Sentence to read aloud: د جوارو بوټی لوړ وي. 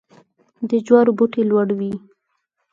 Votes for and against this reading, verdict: 4, 0, accepted